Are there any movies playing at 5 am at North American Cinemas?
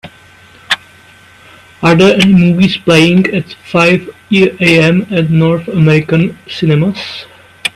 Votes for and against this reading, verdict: 0, 2, rejected